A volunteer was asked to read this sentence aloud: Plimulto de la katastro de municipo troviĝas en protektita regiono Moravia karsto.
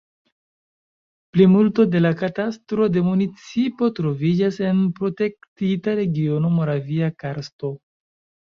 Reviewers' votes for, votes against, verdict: 2, 0, accepted